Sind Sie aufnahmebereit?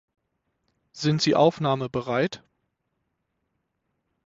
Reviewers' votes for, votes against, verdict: 6, 0, accepted